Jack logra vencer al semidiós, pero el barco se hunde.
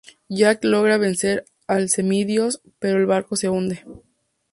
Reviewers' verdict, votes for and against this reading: rejected, 0, 2